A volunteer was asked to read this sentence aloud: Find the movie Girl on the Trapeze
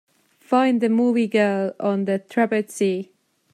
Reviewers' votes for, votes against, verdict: 2, 0, accepted